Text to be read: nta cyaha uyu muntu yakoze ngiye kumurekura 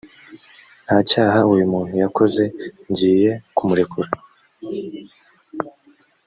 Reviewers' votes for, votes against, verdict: 2, 0, accepted